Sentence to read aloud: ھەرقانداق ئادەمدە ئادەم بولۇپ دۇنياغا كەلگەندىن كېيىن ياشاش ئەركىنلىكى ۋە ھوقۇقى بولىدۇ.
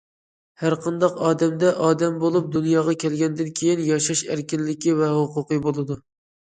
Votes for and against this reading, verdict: 2, 0, accepted